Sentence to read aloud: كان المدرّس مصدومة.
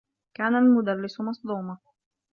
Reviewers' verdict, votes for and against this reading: accepted, 2, 1